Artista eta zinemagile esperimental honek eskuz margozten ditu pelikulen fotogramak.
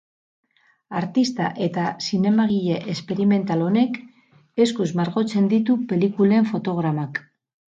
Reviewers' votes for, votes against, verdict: 0, 2, rejected